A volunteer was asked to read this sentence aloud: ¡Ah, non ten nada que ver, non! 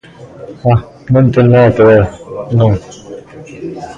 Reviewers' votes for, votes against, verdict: 1, 2, rejected